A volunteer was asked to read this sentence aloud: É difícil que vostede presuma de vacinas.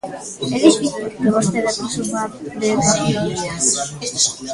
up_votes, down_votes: 0, 2